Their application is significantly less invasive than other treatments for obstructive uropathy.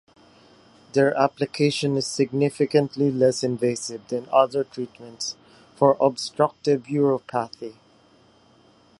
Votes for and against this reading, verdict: 3, 0, accepted